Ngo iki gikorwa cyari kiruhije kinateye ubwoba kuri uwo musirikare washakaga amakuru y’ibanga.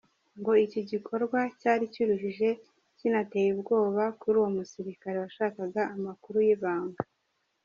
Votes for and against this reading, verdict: 2, 3, rejected